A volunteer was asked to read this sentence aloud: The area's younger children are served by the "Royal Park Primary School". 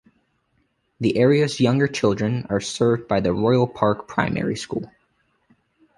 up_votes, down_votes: 2, 0